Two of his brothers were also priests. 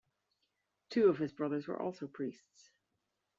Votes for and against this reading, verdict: 1, 2, rejected